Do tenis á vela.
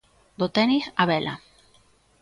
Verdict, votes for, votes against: accepted, 2, 0